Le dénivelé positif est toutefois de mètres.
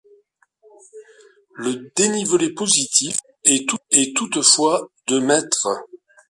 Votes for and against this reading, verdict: 0, 2, rejected